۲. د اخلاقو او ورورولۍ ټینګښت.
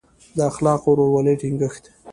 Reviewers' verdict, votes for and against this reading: rejected, 0, 2